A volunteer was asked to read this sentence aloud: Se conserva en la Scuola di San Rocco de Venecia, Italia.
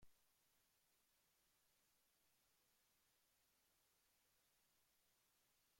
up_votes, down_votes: 0, 2